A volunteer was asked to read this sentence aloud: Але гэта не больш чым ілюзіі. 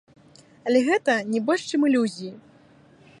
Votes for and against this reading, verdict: 2, 1, accepted